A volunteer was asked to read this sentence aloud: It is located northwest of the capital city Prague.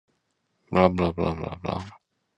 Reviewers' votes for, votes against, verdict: 0, 2, rejected